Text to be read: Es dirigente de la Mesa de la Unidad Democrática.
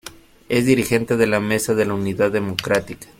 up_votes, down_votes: 0, 2